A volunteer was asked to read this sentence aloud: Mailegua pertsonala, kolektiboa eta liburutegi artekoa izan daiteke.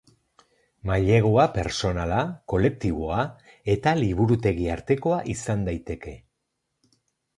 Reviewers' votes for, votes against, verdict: 4, 0, accepted